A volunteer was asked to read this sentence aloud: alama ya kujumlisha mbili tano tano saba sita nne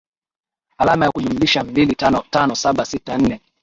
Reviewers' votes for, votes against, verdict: 2, 5, rejected